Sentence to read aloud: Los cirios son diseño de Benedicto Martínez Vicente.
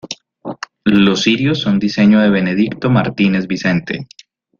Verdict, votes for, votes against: accepted, 2, 0